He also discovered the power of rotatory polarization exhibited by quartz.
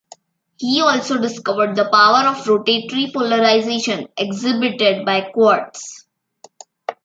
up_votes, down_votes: 2, 0